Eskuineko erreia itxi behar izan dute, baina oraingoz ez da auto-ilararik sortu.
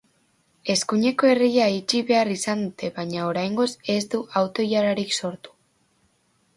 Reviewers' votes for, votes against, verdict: 2, 1, accepted